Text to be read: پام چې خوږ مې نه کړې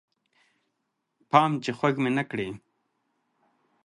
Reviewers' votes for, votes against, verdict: 2, 0, accepted